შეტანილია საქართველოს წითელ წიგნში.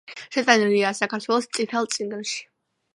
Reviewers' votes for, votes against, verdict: 2, 0, accepted